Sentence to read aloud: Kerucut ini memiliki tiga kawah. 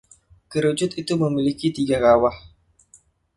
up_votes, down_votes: 1, 2